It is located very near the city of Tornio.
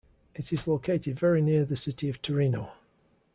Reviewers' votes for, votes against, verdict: 0, 2, rejected